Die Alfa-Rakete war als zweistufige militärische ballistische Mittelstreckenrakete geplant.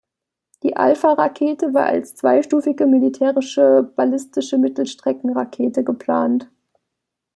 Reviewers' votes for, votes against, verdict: 2, 0, accepted